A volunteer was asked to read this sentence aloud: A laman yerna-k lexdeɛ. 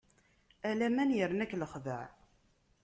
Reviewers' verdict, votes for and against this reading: accepted, 2, 0